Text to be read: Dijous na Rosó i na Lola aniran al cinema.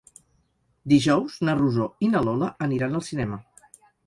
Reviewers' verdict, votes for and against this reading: accepted, 4, 0